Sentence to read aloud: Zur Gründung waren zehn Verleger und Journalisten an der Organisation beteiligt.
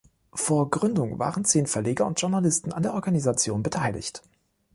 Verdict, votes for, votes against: rejected, 0, 2